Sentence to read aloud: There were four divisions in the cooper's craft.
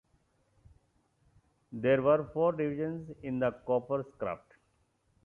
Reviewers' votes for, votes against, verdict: 0, 2, rejected